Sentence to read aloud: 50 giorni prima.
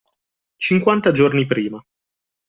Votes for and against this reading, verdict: 0, 2, rejected